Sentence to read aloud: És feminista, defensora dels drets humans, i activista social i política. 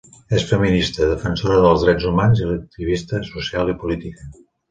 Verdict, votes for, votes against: rejected, 1, 2